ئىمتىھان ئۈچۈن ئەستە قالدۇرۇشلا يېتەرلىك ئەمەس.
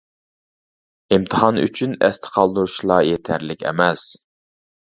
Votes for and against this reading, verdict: 2, 0, accepted